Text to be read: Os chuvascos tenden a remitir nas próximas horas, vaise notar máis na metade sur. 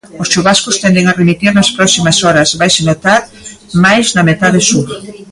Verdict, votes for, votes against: rejected, 0, 2